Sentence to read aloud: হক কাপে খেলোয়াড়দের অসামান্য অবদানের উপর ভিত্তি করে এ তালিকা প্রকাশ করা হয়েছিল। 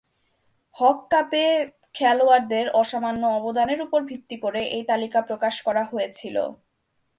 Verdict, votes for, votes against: accepted, 2, 0